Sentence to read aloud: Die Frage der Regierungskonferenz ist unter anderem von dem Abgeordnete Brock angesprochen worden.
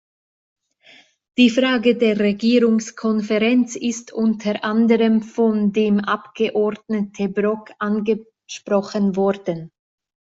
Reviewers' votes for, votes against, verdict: 2, 0, accepted